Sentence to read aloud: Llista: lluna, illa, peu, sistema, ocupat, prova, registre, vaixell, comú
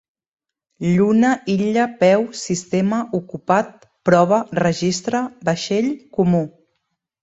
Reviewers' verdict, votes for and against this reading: rejected, 1, 2